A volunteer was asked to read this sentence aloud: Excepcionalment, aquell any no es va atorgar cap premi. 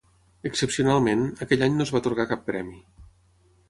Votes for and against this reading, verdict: 6, 0, accepted